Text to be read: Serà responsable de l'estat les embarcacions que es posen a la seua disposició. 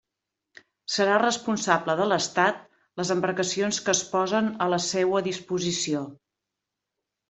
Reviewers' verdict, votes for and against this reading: accepted, 3, 0